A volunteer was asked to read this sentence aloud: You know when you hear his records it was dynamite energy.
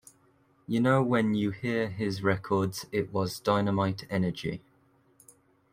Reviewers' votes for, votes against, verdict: 2, 0, accepted